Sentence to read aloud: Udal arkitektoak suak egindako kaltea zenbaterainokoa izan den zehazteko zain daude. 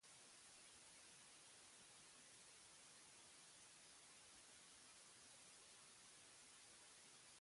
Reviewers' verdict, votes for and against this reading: rejected, 0, 2